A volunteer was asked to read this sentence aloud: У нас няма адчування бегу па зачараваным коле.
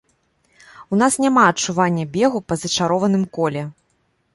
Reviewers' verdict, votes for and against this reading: rejected, 0, 2